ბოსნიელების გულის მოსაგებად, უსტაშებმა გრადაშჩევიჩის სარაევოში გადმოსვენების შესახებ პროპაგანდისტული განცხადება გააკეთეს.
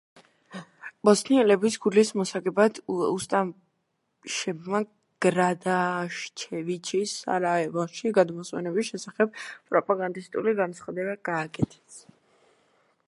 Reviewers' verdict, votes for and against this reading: rejected, 1, 2